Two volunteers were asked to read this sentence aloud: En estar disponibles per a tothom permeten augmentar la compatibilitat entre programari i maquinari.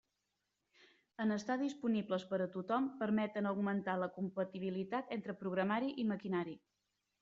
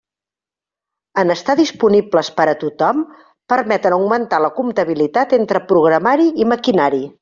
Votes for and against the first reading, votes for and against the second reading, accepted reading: 3, 0, 0, 2, first